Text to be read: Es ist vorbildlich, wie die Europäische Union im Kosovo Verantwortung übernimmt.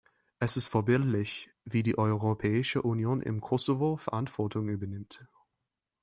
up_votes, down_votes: 1, 2